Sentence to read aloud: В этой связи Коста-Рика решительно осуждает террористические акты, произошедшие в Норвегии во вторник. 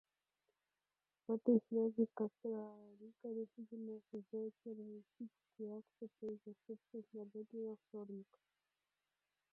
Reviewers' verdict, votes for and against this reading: rejected, 0, 2